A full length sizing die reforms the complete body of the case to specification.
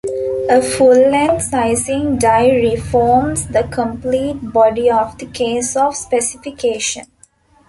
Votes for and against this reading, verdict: 1, 2, rejected